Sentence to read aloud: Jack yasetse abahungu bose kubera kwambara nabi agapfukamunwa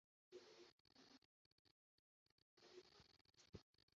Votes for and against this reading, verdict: 0, 2, rejected